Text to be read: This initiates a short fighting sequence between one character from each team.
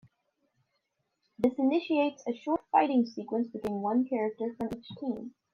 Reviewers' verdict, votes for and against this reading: rejected, 0, 2